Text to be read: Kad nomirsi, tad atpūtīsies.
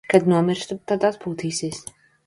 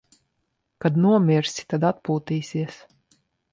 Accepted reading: second